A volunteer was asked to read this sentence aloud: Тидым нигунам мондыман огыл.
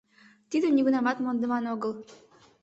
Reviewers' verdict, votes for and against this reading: rejected, 1, 2